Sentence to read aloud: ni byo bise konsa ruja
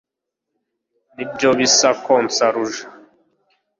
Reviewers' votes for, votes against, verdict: 2, 0, accepted